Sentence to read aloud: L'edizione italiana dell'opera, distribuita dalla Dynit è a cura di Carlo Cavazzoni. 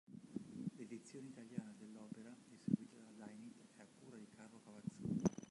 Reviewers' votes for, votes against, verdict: 0, 2, rejected